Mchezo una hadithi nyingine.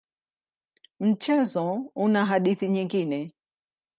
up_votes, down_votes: 2, 0